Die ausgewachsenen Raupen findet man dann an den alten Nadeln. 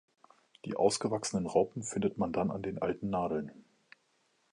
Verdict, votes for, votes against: accepted, 2, 0